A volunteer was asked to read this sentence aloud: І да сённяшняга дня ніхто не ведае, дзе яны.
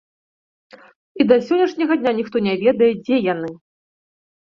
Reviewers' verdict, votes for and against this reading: accepted, 2, 0